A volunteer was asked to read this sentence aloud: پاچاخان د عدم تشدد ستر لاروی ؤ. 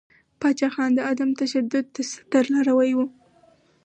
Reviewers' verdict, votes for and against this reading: accepted, 4, 0